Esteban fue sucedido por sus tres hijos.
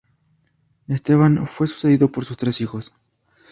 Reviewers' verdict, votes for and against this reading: accepted, 2, 0